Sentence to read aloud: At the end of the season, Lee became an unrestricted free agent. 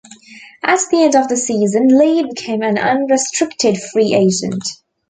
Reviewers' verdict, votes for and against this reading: accepted, 2, 0